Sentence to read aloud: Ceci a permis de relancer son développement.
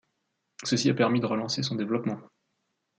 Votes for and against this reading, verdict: 2, 0, accepted